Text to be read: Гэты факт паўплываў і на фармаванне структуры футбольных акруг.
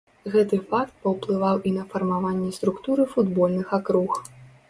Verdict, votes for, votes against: accepted, 2, 0